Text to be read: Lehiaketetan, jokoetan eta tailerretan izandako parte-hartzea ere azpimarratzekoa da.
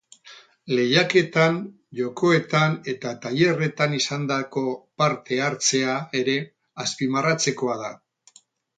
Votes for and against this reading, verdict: 0, 4, rejected